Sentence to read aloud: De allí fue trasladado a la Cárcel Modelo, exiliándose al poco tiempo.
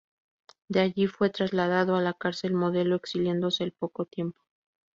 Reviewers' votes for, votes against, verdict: 2, 0, accepted